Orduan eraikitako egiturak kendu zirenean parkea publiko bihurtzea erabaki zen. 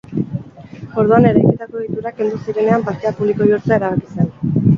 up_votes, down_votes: 2, 2